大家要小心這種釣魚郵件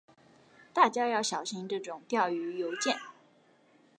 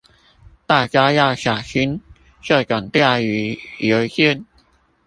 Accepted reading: first